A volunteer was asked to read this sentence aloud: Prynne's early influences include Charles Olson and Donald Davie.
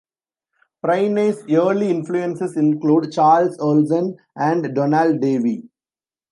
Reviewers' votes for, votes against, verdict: 1, 2, rejected